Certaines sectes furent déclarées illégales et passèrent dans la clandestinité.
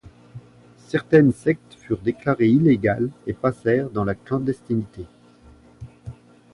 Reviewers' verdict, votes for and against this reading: accepted, 2, 0